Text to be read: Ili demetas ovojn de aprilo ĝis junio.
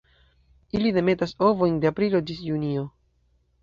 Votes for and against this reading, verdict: 1, 2, rejected